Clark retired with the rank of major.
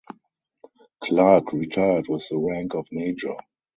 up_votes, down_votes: 0, 2